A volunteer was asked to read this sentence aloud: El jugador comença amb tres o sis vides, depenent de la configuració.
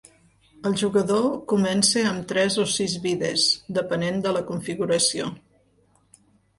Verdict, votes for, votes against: accepted, 2, 0